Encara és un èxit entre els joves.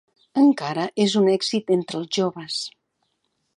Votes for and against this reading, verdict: 2, 0, accepted